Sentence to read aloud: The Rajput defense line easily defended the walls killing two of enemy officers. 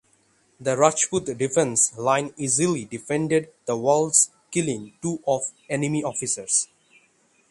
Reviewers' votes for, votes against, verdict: 3, 3, rejected